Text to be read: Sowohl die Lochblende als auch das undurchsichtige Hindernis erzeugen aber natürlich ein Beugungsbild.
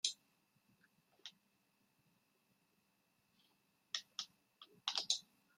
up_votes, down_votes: 0, 2